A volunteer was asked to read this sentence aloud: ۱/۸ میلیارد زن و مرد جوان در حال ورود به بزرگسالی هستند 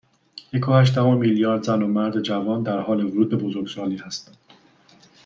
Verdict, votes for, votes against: rejected, 0, 2